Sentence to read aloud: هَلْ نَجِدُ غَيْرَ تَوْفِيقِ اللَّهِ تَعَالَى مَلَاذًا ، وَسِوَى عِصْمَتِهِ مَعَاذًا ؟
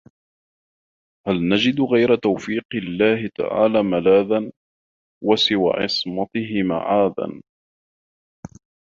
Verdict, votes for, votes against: rejected, 1, 2